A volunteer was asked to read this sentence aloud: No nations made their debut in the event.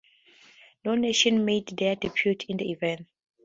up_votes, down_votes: 4, 0